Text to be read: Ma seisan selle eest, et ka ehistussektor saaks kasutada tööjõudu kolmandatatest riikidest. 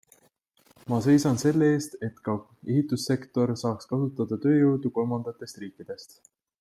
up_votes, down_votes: 3, 0